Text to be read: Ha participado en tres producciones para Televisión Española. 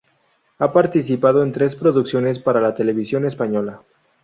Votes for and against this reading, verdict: 2, 4, rejected